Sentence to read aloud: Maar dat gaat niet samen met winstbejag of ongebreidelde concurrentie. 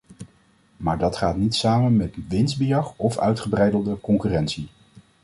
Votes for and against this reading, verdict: 2, 0, accepted